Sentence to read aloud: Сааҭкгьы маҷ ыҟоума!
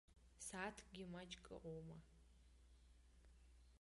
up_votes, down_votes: 1, 2